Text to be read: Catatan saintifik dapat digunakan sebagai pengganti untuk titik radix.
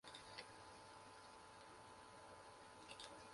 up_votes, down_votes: 0, 2